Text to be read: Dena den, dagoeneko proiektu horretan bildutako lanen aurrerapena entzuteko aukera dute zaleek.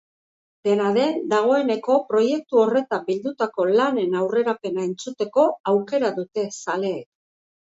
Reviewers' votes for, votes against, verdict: 3, 0, accepted